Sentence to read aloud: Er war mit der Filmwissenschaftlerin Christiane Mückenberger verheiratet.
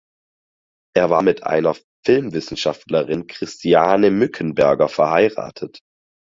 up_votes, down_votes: 0, 4